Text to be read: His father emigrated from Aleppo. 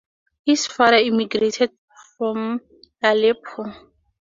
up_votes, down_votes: 0, 2